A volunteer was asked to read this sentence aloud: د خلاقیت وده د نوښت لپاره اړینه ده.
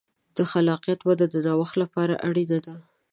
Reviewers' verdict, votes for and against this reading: accepted, 2, 0